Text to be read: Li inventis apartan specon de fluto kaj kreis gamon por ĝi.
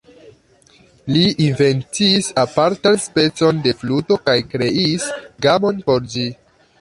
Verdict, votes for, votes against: rejected, 1, 2